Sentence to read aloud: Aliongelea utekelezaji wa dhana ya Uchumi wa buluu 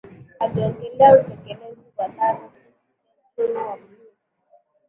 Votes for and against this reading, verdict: 0, 2, rejected